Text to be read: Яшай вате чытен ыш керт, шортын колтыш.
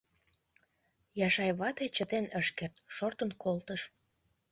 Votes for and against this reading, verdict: 2, 0, accepted